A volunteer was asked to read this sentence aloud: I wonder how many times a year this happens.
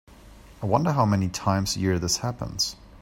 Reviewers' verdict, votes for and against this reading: accepted, 2, 0